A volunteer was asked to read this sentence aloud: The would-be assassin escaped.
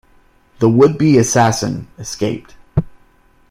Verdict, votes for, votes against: accepted, 2, 0